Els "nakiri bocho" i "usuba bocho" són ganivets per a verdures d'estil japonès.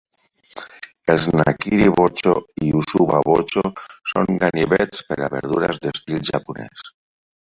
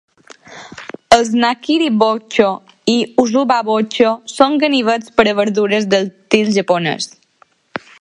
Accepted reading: second